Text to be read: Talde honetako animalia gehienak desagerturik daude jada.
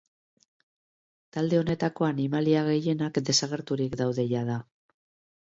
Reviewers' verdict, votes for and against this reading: accepted, 3, 0